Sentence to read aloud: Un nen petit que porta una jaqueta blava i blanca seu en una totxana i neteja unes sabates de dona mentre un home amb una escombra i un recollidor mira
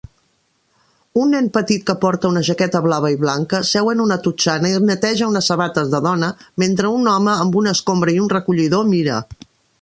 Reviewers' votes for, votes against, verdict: 2, 0, accepted